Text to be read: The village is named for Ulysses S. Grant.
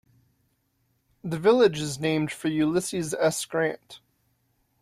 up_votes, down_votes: 2, 0